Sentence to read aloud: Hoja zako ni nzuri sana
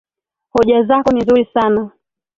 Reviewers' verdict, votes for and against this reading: accepted, 2, 1